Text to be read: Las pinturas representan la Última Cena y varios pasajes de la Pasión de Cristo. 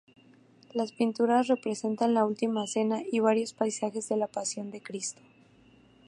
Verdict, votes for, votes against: accepted, 2, 0